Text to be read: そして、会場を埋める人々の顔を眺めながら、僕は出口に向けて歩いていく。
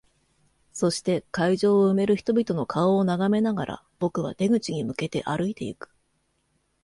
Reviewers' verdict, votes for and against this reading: accepted, 2, 0